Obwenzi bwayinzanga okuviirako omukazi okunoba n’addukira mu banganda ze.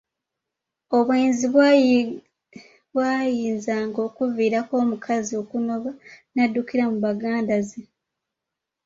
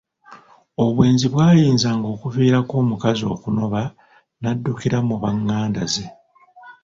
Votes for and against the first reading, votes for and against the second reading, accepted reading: 0, 2, 2, 1, second